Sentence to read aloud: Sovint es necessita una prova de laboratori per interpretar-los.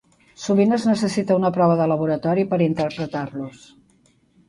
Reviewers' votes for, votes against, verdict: 8, 0, accepted